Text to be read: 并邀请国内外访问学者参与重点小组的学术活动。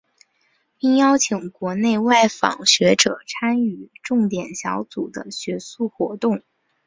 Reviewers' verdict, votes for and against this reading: accepted, 2, 0